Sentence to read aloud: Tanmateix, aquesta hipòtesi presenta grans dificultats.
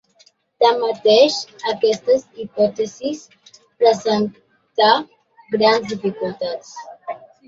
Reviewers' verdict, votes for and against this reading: rejected, 0, 2